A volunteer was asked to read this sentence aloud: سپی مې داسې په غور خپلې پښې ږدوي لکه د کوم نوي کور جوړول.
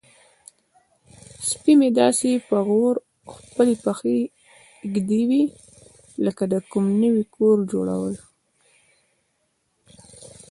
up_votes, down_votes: 2, 0